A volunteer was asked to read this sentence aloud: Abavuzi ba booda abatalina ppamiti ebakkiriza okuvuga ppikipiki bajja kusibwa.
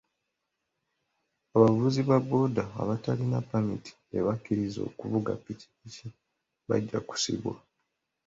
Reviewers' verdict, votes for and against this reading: accepted, 2, 1